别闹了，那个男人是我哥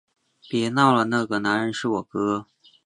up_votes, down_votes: 2, 0